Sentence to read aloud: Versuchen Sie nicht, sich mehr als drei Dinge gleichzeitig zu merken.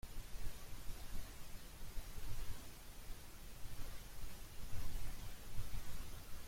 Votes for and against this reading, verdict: 0, 2, rejected